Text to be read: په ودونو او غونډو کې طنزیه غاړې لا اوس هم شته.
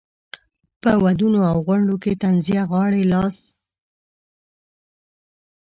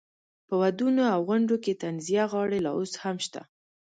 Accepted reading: second